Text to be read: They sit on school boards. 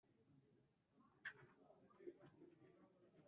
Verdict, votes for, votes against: rejected, 0, 2